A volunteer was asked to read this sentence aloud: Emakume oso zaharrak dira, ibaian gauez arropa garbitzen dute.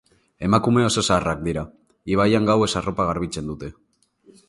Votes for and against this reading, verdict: 2, 0, accepted